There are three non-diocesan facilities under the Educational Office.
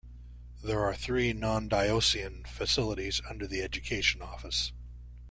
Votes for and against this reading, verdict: 1, 2, rejected